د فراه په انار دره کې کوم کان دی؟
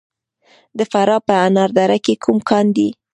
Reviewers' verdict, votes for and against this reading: rejected, 1, 2